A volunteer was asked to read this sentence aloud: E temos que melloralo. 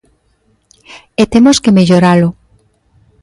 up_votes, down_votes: 2, 0